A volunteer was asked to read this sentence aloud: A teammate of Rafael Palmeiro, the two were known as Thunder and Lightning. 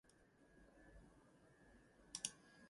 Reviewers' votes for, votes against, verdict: 0, 2, rejected